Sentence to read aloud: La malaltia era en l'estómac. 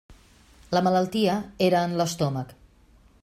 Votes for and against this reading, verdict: 2, 0, accepted